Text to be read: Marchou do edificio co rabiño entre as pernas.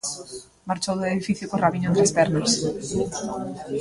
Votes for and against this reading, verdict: 2, 0, accepted